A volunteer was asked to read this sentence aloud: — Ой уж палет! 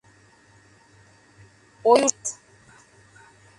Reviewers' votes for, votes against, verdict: 0, 2, rejected